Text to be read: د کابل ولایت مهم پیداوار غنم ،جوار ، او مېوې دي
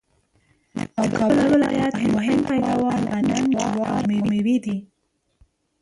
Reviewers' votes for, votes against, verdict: 1, 2, rejected